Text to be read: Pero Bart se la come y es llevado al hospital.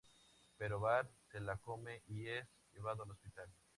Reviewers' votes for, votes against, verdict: 2, 0, accepted